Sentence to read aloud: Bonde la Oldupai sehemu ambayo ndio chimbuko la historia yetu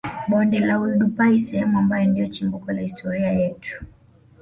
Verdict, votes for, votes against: accepted, 2, 0